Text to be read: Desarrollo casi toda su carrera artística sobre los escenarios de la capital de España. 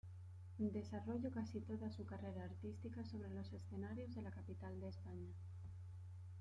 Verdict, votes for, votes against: rejected, 1, 2